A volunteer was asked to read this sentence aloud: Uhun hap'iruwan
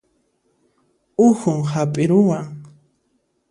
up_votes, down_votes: 2, 0